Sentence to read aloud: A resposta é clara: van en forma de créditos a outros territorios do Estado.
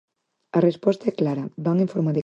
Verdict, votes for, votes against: rejected, 0, 4